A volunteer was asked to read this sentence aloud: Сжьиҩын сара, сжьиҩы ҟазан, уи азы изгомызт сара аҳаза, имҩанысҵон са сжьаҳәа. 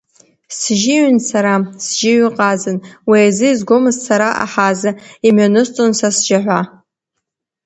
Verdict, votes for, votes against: accepted, 2, 1